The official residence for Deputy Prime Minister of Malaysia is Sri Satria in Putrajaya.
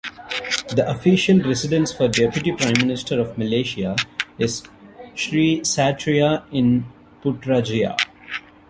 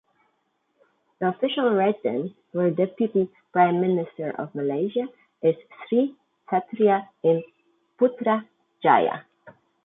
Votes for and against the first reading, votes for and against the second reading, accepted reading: 0, 2, 2, 0, second